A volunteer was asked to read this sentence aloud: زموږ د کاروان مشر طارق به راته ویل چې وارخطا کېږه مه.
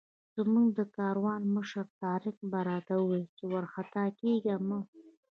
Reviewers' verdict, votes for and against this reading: rejected, 0, 2